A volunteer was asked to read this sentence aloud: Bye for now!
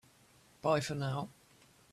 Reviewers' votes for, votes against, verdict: 2, 0, accepted